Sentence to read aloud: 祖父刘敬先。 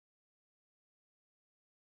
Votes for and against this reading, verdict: 0, 2, rejected